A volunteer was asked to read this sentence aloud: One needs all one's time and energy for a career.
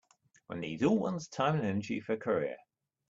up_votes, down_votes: 1, 2